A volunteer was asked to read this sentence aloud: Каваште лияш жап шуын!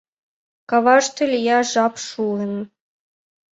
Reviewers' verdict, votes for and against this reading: accepted, 2, 0